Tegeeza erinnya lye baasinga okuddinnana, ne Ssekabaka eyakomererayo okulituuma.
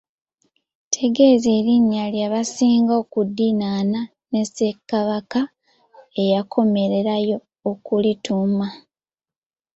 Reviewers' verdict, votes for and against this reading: rejected, 1, 2